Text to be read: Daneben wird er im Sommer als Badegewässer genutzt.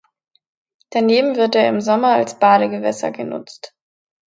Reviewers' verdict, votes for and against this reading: accepted, 2, 0